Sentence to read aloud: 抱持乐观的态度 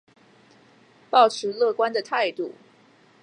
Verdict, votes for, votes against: accepted, 2, 0